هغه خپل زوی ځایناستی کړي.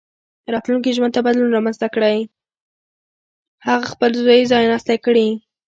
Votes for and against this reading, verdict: 1, 2, rejected